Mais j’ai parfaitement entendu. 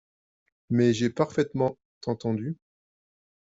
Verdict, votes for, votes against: rejected, 0, 2